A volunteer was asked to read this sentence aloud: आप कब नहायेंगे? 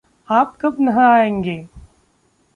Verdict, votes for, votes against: accepted, 2, 1